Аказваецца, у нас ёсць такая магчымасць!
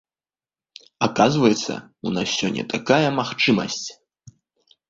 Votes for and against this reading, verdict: 0, 2, rejected